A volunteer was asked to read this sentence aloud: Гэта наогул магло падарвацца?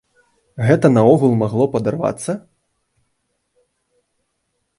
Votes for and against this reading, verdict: 4, 0, accepted